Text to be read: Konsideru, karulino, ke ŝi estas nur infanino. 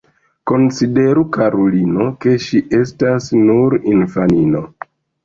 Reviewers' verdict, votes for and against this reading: accepted, 2, 0